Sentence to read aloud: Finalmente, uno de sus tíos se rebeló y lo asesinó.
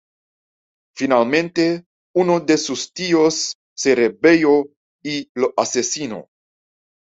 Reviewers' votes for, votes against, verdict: 0, 2, rejected